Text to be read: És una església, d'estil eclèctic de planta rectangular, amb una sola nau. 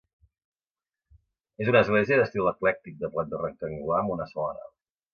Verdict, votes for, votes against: rejected, 1, 2